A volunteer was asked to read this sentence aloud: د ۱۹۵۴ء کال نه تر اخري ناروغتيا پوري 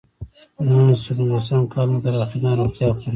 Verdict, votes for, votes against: rejected, 0, 2